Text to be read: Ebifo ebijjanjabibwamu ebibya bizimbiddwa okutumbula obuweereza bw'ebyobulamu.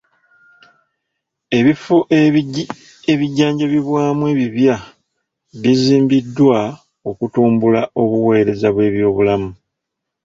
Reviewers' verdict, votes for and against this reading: rejected, 1, 2